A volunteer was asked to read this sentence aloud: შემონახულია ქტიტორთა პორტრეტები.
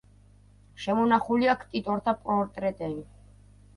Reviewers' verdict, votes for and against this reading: rejected, 1, 2